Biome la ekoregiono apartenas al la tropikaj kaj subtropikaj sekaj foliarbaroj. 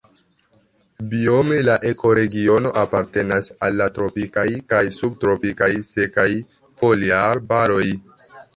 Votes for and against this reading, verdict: 2, 0, accepted